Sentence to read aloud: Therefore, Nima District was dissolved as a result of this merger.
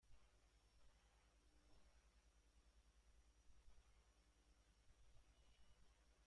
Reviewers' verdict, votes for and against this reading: rejected, 0, 4